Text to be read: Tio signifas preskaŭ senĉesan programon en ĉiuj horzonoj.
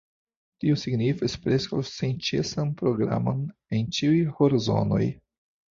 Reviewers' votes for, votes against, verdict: 2, 1, accepted